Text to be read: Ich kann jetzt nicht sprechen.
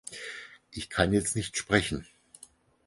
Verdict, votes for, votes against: accepted, 4, 0